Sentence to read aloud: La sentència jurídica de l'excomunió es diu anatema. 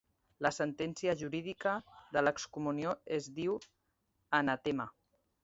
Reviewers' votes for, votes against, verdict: 2, 0, accepted